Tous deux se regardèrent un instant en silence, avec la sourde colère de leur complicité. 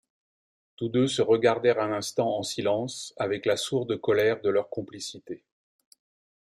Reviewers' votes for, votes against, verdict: 2, 0, accepted